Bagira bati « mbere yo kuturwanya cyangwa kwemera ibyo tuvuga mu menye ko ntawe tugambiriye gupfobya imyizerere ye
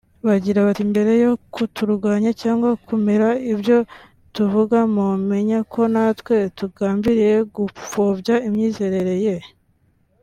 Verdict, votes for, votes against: rejected, 1, 2